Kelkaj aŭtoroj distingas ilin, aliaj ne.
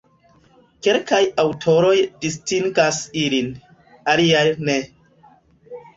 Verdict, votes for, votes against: accepted, 2, 0